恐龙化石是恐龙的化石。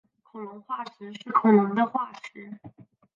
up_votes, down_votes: 1, 2